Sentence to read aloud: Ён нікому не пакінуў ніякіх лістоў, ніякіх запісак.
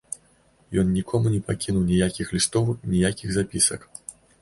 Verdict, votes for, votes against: accepted, 2, 0